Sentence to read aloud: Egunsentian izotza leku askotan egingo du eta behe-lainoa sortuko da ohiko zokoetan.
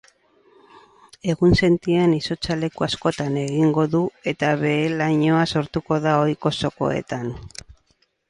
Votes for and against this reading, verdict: 4, 0, accepted